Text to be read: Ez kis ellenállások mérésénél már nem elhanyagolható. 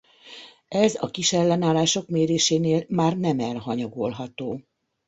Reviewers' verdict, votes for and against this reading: rejected, 0, 2